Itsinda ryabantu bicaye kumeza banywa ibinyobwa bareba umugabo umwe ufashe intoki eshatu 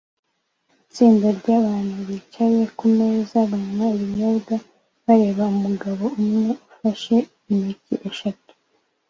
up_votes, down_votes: 2, 0